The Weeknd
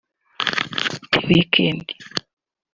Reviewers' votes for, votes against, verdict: 0, 2, rejected